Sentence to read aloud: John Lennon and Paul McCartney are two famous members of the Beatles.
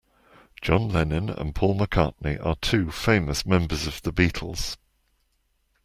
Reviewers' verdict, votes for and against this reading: accepted, 2, 0